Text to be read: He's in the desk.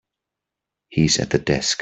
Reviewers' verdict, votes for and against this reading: rejected, 0, 3